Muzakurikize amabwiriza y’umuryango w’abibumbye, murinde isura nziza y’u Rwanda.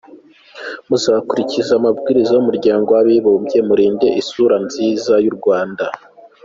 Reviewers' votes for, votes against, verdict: 2, 0, accepted